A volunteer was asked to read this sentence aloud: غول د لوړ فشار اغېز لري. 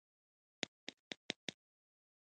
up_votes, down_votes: 1, 2